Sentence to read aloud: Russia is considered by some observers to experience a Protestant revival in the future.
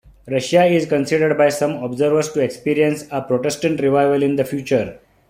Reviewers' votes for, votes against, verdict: 2, 0, accepted